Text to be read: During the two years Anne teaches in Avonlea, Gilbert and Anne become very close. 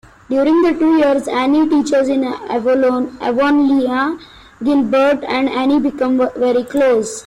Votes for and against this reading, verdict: 1, 2, rejected